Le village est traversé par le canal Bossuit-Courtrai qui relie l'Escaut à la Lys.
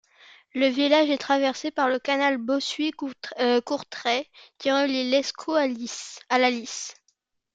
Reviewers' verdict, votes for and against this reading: rejected, 0, 2